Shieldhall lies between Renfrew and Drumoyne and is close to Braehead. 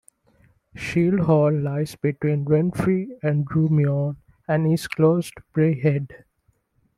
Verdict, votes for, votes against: rejected, 1, 2